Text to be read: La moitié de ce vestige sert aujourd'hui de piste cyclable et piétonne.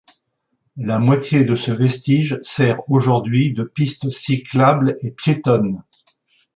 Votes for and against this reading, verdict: 2, 0, accepted